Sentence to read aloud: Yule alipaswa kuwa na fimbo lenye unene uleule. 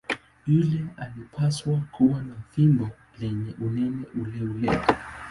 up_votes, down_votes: 0, 2